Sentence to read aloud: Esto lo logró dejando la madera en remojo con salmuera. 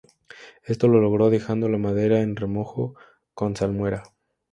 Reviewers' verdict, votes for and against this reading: accepted, 2, 0